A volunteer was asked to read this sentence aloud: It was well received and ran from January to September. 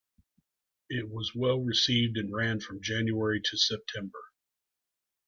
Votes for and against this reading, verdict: 2, 0, accepted